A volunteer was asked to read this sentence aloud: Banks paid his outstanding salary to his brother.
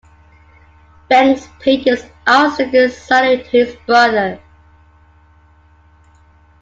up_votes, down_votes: 0, 2